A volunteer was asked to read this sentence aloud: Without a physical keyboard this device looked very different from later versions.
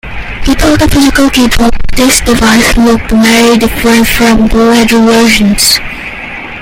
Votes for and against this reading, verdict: 0, 2, rejected